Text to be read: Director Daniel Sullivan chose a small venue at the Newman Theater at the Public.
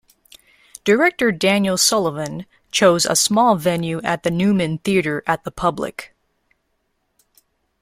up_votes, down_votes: 2, 0